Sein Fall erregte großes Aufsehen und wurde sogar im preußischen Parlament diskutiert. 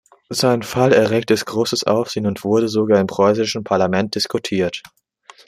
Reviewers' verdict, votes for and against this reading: accepted, 2, 1